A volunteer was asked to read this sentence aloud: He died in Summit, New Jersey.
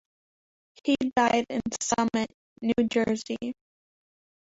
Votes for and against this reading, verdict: 0, 2, rejected